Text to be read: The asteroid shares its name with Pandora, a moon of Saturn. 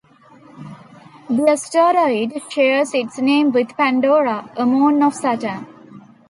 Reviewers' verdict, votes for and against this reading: accepted, 2, 1